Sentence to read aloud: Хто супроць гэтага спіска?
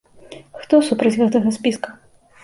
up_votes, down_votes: 2, 0